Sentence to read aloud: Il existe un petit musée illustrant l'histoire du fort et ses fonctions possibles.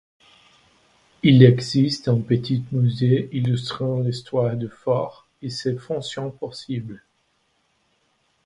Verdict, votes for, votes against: rejected, 1, 2